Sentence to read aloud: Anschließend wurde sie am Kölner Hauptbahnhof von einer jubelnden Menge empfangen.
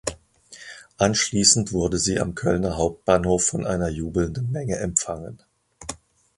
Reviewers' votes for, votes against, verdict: 1, 2, rejected